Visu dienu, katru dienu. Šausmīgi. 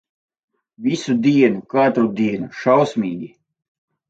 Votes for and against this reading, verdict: 2, 4, rejected